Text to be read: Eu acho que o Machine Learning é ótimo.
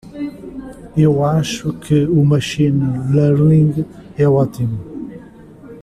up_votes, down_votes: 2, 0